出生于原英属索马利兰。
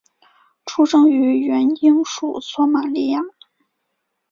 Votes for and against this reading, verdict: 1, 2, rejected